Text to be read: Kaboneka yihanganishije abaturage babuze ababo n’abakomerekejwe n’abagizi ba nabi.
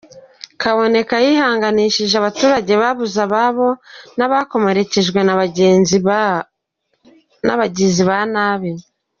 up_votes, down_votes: 0, 2